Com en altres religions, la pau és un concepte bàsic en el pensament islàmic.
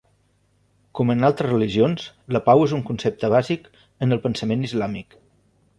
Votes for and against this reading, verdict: 3, 1, accepted